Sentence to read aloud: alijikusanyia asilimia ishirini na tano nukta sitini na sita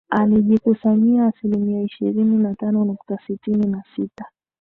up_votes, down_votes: 2, 1